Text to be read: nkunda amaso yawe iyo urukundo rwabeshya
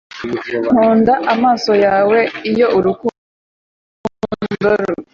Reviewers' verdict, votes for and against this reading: rejected, 0, 2